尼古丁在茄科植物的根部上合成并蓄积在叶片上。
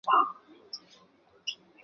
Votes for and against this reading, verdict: 0, 2, rejected